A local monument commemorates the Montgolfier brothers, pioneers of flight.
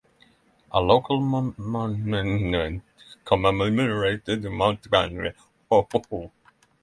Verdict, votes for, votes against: rejected, 0, 6